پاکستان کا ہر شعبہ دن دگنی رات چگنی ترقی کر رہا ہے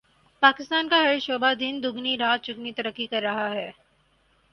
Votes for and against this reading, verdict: 4, 0, accepted